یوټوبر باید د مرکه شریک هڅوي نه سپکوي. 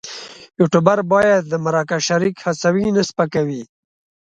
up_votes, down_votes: 2, 0